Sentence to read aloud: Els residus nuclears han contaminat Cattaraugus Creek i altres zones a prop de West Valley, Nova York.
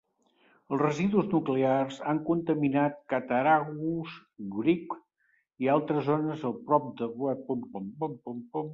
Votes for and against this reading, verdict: 0, 2, rejected